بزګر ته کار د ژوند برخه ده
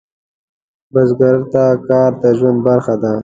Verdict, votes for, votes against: accepted, 2, 0